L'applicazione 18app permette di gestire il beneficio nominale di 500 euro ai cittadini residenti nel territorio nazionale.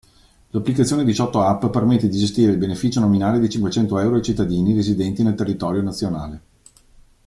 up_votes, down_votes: 0, 2